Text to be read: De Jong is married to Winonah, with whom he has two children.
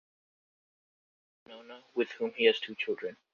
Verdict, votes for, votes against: rejected, 0, 2